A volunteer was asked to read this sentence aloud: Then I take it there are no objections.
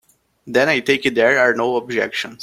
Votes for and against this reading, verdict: 3, 0, accepted